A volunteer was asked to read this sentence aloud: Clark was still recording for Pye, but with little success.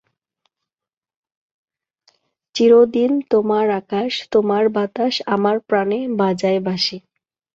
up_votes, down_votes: 0, 2